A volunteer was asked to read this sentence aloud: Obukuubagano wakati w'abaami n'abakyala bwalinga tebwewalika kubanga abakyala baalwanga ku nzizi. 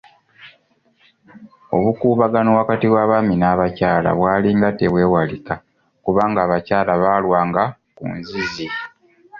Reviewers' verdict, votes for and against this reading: accepted, 2, 0